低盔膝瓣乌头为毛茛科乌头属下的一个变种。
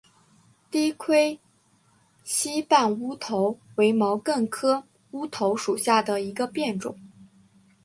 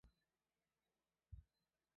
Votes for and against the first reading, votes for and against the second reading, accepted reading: 3, 1, 2, 4, first